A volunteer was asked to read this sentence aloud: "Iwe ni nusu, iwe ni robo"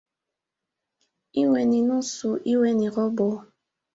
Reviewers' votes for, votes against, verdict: 2, 1, accepted